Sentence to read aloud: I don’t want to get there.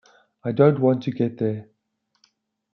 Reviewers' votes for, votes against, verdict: 2, 0, accepted